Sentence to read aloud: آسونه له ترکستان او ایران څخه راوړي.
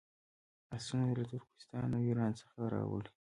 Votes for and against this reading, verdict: 1, 2, rejected